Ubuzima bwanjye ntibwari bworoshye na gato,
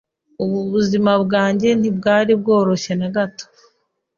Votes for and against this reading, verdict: 2, 1, accepted